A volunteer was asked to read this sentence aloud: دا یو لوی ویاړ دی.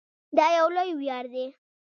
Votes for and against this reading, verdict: 1, 2, rejected